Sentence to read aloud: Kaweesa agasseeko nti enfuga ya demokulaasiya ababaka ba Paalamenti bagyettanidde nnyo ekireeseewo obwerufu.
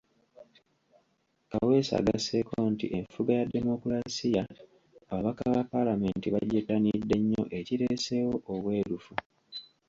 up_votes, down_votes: 2, 1